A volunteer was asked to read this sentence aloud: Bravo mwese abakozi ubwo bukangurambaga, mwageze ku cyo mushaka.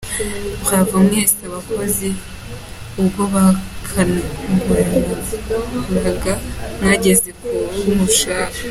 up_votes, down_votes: 2, 1